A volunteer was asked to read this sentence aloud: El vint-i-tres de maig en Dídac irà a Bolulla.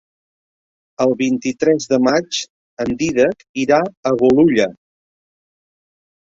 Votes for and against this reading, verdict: 2, 0, accepted